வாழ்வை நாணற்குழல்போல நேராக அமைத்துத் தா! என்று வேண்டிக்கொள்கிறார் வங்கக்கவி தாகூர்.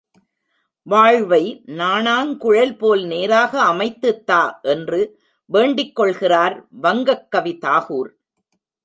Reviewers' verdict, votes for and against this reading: rejected, 1, 2